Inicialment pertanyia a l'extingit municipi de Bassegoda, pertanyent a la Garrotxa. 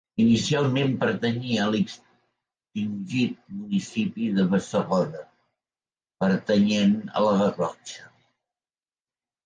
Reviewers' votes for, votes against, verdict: 1, 2, rejected